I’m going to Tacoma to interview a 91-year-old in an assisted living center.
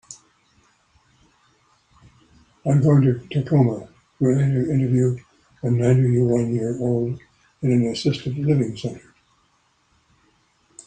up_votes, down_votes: 0, 2